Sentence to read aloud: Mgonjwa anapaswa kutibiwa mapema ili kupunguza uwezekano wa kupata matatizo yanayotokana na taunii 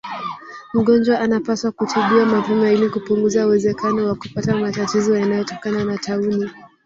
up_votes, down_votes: 0, 3